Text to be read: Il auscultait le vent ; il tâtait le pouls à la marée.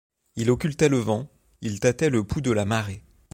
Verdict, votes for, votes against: rejected, 1, 2